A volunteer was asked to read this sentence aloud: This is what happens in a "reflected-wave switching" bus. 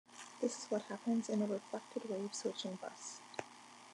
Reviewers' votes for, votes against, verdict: 2, 0, accepted